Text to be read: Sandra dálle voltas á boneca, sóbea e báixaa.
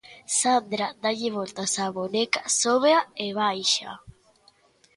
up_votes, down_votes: 2, 0